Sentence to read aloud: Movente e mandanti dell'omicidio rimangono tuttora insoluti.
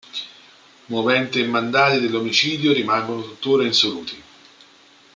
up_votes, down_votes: 0, 2